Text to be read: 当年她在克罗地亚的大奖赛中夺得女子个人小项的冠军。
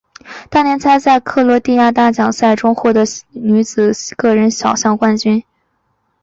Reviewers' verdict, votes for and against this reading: accepted, 6, 1